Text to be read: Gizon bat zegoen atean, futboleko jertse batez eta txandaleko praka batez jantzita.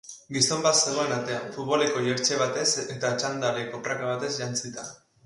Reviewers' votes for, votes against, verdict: 4, 0, accepted